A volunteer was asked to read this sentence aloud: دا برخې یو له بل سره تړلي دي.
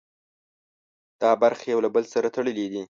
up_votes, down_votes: 2, 0